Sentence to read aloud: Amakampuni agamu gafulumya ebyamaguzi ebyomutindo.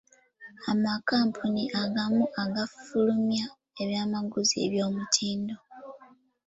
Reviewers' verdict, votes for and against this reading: rejected, 1, 2